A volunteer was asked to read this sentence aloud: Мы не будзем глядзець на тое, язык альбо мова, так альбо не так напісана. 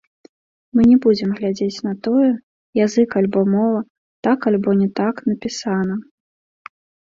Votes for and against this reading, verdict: 1, 2, rejected